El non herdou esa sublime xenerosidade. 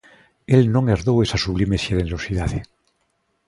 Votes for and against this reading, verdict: 3, 0, accepted